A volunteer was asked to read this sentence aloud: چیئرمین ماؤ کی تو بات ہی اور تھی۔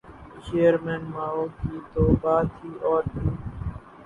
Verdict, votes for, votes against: rejected, 0, 2